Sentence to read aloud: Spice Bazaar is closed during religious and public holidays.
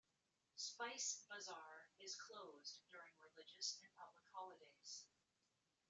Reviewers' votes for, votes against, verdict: 1, 2, rejected